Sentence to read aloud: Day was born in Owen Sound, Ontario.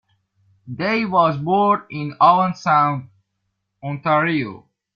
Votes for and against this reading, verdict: 2, 0, accepted